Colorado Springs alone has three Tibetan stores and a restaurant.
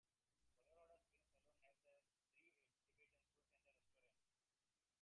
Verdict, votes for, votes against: rejected, 0, 3